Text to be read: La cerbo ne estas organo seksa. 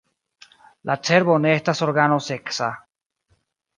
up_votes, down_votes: 0, 2